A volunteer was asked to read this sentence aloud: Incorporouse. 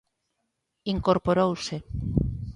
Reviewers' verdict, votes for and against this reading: accepted, 2, 0